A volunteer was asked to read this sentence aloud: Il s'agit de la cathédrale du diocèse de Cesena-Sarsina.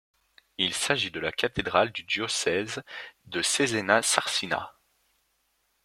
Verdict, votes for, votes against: accepted, 2, 0